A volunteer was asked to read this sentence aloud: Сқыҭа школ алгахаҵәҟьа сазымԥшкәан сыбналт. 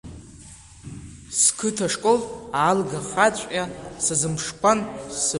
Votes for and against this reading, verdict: 0, 2, rejected